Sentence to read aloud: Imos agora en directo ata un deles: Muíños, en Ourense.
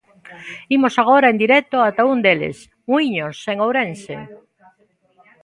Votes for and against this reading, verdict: 2, 0, accepted